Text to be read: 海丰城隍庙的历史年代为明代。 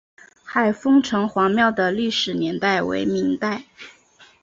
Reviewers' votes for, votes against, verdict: 3, 0, accepted